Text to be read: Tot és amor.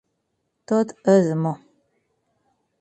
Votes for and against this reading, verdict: 4, 0, accepted